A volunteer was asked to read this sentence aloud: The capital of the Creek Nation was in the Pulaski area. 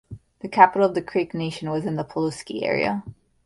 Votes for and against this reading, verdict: 0, 2, rejected